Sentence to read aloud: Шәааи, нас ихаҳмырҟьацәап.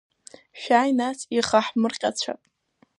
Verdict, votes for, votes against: rejected, 0, 2